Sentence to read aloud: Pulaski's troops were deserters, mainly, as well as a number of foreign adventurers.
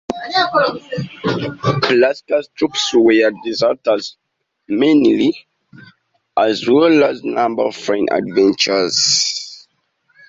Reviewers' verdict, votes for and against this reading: rejected, 1, 2